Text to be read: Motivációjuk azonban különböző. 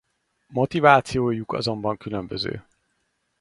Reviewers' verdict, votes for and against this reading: accepted, 4, 0